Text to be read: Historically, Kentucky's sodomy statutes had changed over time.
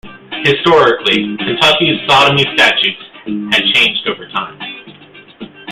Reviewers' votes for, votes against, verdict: 2, 0, accepted